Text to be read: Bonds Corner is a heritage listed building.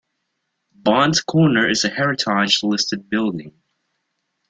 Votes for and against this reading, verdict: 1, 2, rejected